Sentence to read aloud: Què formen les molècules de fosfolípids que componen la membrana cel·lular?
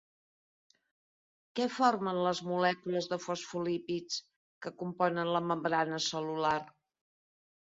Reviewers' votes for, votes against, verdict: 2, 0, accepted